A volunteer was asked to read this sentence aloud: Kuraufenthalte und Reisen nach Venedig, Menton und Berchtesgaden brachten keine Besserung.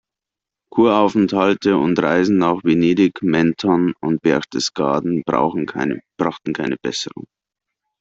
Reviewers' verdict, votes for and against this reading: rejected, 1, 2